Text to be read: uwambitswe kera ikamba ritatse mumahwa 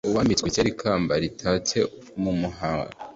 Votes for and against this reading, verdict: 0, 2, rejected